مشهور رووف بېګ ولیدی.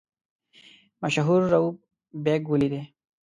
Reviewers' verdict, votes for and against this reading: rejected, 1, 2